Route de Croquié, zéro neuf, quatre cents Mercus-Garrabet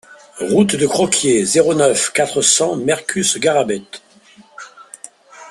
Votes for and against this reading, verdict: 2, 0, accepted